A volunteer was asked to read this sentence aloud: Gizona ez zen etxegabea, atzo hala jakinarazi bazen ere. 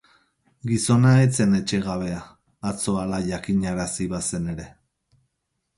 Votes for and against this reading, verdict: 6, 0, accepted